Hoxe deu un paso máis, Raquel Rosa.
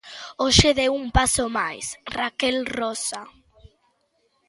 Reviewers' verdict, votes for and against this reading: accepted, 2, 0